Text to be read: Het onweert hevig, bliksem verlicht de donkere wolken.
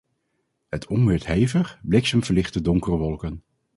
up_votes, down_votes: 2, 2